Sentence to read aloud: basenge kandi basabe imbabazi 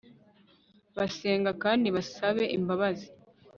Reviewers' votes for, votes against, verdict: 1, 2, rejected